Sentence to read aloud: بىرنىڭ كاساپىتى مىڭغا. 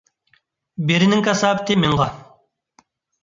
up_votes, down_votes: 0, 2